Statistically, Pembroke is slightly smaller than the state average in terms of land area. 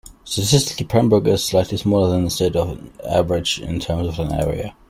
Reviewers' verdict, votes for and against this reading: rejected, 0, 2